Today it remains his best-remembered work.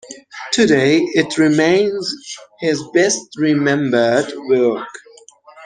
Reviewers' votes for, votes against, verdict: 0, 2, rejected